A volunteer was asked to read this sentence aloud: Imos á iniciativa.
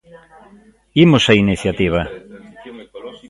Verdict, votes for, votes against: rejected, 0, 2